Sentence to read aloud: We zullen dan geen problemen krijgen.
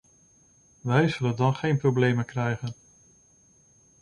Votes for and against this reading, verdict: 1, 2, rejected